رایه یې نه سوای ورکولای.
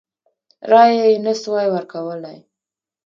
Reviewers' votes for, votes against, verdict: 2, 1, accepted